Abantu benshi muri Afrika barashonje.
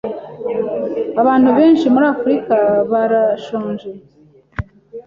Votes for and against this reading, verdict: 2, 0, accepted